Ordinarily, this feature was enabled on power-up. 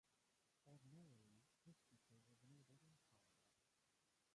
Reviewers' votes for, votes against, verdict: 0, 2, rejected